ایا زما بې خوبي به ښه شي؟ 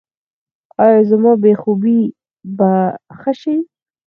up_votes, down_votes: 2, 4